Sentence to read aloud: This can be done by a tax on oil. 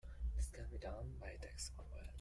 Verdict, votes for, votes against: rejected, 0, 2